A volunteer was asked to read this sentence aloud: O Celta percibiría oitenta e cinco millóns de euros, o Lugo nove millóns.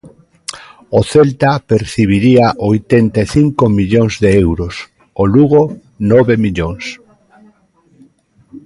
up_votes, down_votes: 2, 1